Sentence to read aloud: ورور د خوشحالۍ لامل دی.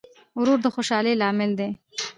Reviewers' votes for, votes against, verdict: 1, 2, rejected